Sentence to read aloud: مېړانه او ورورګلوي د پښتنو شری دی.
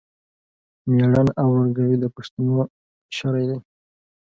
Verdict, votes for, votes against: rejected, 1, 2